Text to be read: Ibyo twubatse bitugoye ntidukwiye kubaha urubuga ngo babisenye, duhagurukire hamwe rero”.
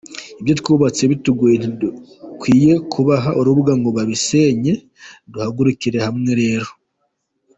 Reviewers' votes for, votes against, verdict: 2, 0, accepted